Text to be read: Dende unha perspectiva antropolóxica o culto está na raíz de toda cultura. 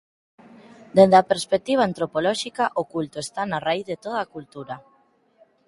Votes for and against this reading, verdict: 0, 4, rejected